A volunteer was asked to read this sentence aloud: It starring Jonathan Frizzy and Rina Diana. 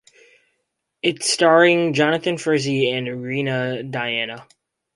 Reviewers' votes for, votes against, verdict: 4, 0, accepted